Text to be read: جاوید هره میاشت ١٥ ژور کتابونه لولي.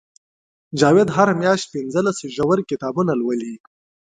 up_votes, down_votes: 0, 2